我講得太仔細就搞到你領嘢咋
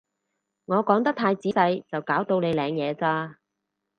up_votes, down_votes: 4, 0